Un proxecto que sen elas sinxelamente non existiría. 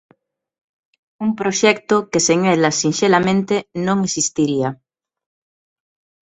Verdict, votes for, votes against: accepted, 2, 0